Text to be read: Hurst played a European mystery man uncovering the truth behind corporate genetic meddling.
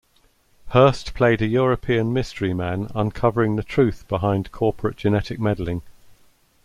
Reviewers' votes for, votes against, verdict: 2, 0, accepted